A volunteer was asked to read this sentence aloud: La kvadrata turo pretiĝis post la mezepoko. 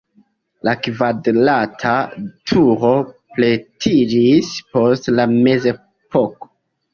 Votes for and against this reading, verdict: 2, 0, accepted